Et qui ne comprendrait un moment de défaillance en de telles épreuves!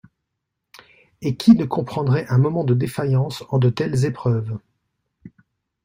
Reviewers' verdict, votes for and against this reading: rejected, 1, 2